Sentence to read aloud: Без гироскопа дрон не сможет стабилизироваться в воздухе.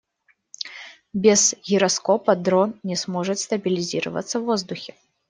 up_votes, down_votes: 2, 0